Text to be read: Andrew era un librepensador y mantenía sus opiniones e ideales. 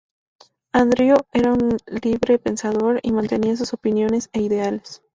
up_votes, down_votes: 0, 2